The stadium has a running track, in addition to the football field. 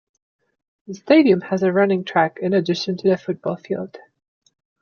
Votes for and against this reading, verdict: 2, 0, accepted